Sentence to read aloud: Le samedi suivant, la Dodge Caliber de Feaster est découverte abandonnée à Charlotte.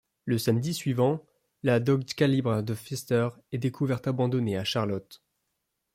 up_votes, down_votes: 0, 2